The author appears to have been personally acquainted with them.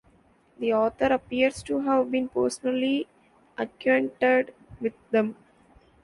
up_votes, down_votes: 2, 1